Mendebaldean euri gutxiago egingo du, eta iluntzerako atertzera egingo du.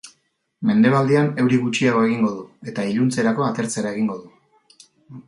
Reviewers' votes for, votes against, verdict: 2, 0, accepted